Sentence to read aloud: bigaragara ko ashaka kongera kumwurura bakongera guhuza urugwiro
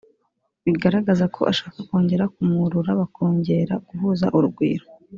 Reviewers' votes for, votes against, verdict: 0, 2, rejected